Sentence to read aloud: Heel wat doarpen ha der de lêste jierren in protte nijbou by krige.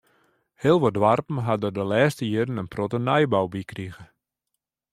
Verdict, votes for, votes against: accepted, 2, 0